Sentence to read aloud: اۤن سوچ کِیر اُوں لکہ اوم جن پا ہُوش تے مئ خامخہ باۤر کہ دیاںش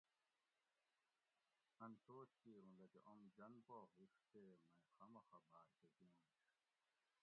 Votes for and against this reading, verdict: 0, 2, rejected